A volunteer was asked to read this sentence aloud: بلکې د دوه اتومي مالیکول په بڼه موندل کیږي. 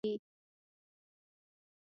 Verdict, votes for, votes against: rejected, 0, 2